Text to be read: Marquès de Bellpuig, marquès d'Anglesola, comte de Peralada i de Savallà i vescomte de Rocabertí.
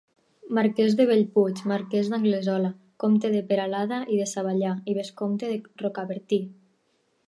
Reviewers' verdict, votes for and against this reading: accepted, 4, 2